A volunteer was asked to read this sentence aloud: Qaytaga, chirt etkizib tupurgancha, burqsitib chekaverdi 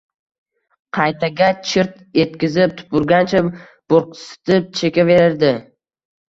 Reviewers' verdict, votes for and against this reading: accepted, 2, 0